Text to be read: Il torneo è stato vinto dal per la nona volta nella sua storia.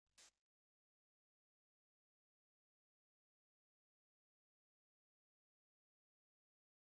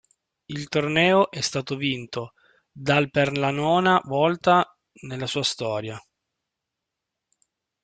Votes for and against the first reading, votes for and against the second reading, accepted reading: 0, 3, 3, 1, second